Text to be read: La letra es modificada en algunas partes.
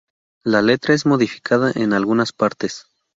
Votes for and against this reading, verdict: 2, 0, accepted